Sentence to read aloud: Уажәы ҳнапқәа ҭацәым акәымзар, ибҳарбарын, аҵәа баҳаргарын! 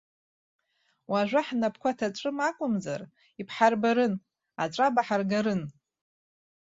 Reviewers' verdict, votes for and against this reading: rejected, 1, 2